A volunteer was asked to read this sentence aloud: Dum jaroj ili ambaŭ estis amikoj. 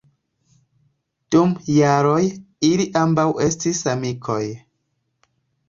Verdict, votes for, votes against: accepted, 2, 0